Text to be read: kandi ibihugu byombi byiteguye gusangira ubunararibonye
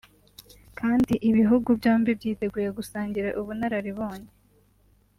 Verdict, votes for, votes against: accepted, 2, 0